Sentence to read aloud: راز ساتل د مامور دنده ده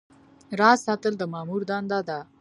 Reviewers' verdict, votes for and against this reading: accepted, 2, 0